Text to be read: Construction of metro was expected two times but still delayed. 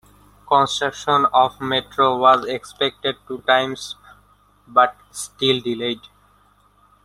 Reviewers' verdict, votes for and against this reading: accepted, 2, 0